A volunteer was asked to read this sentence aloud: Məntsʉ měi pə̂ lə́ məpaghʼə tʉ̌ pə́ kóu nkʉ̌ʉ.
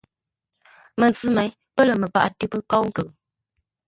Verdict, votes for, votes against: rejected, 1, 2